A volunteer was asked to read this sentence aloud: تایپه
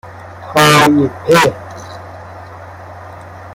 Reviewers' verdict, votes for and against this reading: rejected, 1, 2